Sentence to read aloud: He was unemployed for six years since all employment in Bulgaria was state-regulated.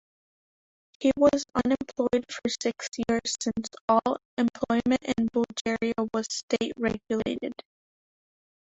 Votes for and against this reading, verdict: 0, 2, rejected